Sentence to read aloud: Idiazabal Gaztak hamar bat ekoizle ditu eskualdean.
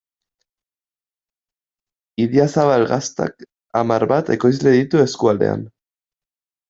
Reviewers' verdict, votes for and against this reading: rejected, 1, 2